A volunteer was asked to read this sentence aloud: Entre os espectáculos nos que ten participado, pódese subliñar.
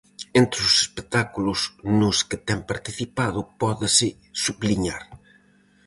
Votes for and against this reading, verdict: 4, 0, accepted